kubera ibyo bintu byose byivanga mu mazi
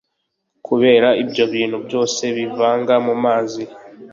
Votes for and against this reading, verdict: 3, 0, accepted